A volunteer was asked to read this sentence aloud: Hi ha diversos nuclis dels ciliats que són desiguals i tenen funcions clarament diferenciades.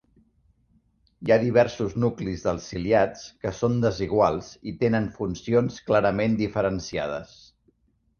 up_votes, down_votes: 2, 0